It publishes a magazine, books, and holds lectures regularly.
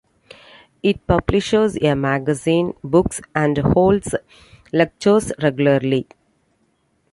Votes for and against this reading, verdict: 0, 2, rejected